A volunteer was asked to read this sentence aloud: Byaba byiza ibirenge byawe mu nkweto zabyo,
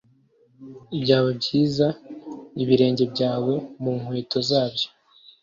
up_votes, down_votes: 2, 0